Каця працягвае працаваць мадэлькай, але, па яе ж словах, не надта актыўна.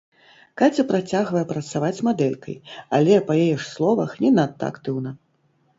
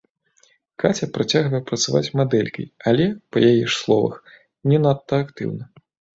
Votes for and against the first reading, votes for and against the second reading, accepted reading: 1, 2, 2, 1, second